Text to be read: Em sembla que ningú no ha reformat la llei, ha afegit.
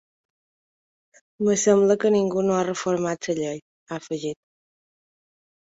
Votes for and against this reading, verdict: 1, 3, rejected